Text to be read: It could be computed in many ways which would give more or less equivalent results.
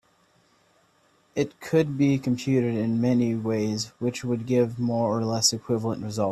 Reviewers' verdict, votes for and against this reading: rejected, 0, 2